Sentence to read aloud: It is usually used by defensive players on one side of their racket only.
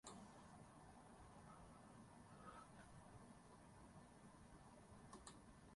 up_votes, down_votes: 0, 2